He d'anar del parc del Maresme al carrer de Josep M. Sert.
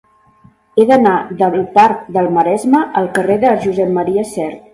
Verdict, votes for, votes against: rejected, 1, 3